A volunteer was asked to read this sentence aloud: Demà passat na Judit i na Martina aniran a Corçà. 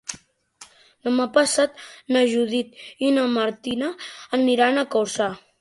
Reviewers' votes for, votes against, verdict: 3, 0, accepted